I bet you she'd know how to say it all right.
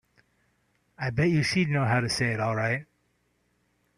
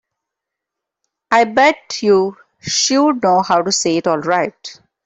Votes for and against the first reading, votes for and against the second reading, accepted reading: 4, 0, 3, 4, first